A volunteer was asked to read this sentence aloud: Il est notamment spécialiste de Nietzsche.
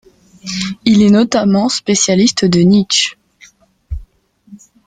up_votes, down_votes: 2, 0